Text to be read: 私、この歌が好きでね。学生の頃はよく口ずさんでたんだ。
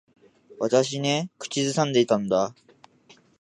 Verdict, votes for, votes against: rejected, 0, 2